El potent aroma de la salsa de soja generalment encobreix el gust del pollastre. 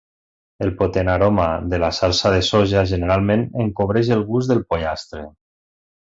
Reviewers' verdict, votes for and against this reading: accepted, 3, 0